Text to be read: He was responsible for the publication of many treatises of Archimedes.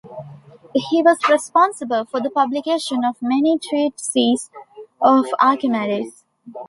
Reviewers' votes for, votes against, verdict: 2, 1, accepted